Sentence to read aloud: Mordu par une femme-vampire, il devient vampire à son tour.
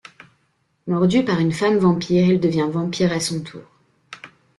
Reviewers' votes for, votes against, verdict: 2, 0, accepted